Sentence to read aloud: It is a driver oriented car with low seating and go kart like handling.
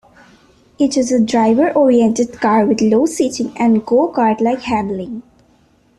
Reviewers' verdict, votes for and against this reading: accepted, 2, 0